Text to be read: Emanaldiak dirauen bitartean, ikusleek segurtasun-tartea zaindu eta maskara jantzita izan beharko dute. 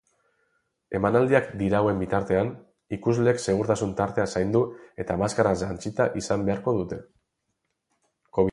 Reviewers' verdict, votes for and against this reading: rejected, 0, 4